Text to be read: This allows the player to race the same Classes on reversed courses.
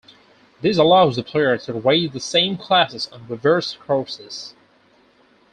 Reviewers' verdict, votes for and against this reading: rejected, 0, 4